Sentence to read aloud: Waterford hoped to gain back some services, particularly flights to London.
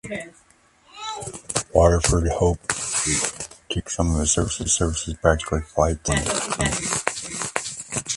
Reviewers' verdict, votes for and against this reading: rejected, 1, 2